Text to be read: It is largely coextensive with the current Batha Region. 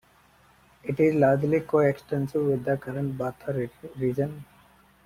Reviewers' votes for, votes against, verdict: 0, 2, rejected